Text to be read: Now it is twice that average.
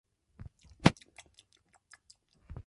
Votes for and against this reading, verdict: 0, 2, rejected